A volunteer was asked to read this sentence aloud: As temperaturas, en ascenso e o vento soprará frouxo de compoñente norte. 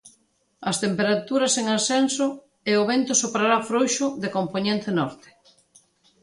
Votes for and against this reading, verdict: 2, 0, accepted